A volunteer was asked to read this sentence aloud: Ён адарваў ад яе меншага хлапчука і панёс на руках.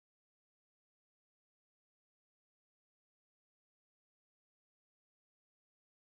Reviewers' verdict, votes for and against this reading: rejected, 0, 2